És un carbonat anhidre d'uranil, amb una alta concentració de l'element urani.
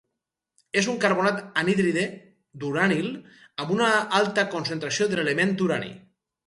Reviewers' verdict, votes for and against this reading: rejected, 0, 2